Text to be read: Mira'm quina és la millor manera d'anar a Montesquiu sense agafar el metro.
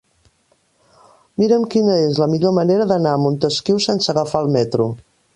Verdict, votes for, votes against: accepted, 3, 1